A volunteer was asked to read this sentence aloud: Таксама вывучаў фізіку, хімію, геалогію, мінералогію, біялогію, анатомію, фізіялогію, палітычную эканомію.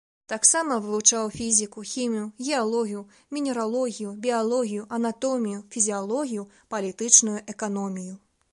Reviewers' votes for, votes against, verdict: 2, 0, accepted